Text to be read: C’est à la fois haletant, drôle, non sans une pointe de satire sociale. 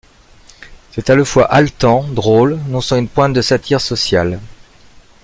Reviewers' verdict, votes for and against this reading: rejected, 0, 2